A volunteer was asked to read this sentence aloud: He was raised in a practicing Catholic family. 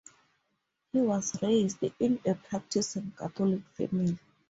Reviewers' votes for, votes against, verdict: 2, 0, accepted